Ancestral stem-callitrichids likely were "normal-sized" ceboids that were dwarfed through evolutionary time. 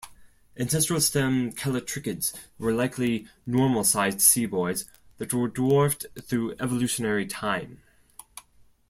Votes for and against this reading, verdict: 0, 2, rejected